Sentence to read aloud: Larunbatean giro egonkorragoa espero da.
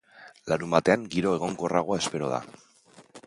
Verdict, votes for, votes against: accepted, 2, 0